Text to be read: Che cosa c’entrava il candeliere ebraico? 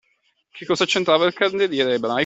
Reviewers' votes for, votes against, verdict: 0, 2, rejected